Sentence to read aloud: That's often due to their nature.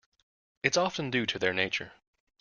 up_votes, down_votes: 1, 2